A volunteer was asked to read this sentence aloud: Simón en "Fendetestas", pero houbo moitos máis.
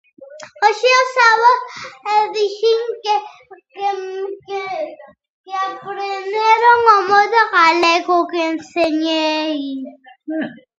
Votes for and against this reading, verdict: 0, 2, rejected